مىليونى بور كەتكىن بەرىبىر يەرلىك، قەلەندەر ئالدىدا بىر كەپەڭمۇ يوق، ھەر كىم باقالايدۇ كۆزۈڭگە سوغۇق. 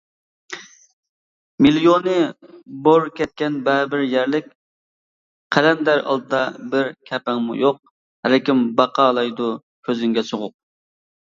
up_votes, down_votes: 1, 2